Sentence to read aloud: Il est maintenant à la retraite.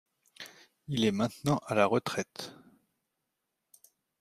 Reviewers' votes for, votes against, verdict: 2, 0, accepted